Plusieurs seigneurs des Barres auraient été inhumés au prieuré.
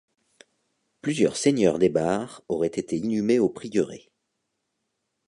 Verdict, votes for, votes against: accepted, 2, 0